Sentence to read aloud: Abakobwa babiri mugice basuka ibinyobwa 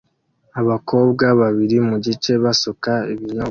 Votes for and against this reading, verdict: 1, 2, rejected